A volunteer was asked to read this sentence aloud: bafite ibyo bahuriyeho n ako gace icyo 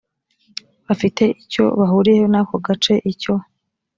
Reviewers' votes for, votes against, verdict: 1, 2, rejected